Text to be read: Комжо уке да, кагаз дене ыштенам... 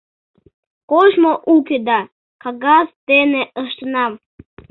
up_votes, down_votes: 0, 2